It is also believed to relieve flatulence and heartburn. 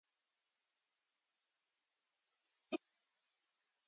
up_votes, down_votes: 0, 3